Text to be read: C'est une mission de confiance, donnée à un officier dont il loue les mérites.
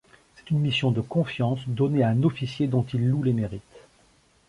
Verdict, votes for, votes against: accepted, 2, 0